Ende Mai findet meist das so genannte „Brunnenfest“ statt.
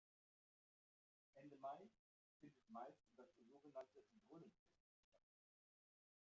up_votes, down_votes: 0, 2